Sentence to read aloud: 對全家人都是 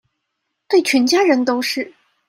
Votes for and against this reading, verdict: 2, 0, accepted